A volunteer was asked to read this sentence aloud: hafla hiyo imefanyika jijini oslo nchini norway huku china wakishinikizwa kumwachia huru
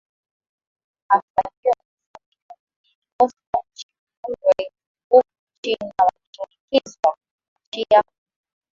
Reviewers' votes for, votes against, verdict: 0, 2, rejected